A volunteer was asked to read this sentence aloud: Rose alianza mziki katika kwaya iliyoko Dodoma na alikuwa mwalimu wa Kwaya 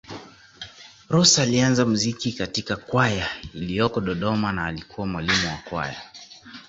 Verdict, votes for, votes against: rejected, 0, 2